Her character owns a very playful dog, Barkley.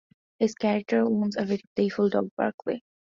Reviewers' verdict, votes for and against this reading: rejected, 0, 2